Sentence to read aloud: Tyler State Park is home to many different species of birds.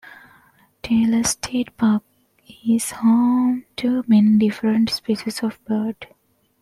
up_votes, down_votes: 2, 0